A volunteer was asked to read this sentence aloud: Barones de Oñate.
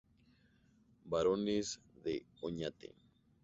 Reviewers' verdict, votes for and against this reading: accepted, 2, 0